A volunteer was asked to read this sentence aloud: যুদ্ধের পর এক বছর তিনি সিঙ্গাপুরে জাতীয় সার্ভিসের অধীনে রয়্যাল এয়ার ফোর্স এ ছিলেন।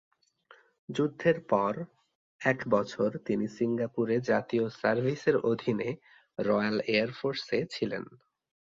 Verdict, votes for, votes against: accepted, 2, 0